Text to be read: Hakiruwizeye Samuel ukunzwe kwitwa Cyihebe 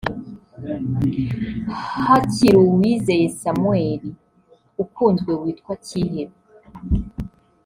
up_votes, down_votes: 1, 2